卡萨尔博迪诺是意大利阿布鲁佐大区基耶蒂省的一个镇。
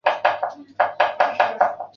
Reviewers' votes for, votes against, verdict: 0, 3, rejected